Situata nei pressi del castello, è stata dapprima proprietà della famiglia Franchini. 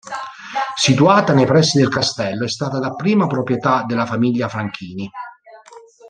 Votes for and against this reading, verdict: 0, 2, rejected